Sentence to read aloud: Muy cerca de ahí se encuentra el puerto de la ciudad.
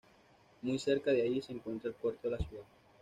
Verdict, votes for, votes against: rejected, 0, 2